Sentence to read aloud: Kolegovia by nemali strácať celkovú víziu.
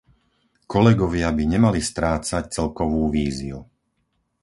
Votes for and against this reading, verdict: 4, 0, accepted